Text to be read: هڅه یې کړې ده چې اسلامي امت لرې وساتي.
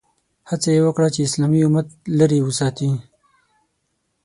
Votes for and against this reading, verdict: 3, 6, rejected